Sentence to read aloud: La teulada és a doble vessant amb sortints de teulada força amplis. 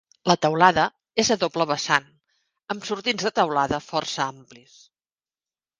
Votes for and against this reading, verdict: 2, 0, accepted